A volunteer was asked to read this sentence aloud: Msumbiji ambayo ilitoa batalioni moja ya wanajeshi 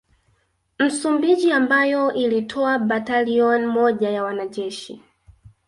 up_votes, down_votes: 1, 2